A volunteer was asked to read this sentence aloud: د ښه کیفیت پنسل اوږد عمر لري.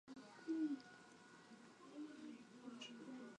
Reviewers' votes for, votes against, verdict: 0, 2, rejected